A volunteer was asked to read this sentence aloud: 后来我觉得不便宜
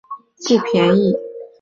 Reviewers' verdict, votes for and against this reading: rejected, 0, 2